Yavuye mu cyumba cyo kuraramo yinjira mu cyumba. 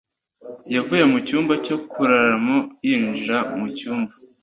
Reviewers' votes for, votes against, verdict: 2, 0, accepted